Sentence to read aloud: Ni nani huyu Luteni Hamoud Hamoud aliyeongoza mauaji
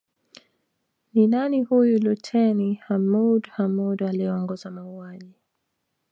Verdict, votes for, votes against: rejected, 1, 2